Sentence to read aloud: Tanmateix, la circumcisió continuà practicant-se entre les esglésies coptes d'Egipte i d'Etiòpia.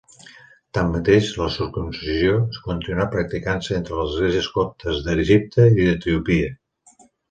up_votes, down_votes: 2, 0